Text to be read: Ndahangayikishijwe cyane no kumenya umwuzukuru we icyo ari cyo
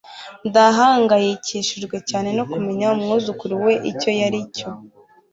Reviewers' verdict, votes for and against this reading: accepted, 2, 0